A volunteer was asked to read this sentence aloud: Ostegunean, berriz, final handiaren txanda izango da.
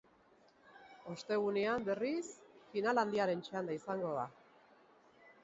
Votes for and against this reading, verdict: 3, 0, accepted